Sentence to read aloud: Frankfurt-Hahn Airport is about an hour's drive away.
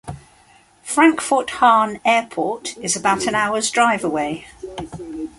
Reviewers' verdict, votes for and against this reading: accepted, 2, 0